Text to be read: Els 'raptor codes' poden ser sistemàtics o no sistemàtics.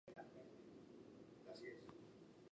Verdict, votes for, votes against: rejected, 0, 2